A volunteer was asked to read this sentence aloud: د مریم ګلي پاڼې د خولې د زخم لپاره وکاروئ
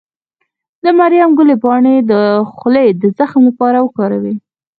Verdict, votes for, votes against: rejected, 2, 4